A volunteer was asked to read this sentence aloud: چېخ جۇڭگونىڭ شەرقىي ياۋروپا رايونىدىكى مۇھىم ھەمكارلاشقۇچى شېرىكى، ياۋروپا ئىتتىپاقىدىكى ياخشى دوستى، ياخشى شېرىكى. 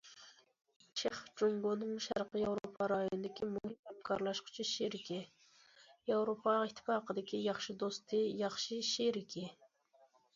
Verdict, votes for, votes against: accepted, 2, 0